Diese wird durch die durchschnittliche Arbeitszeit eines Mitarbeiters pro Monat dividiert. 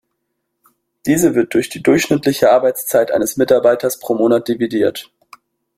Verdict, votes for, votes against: accepted, 2, 0